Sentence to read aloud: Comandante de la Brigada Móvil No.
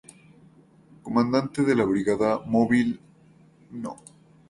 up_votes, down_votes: 2, 0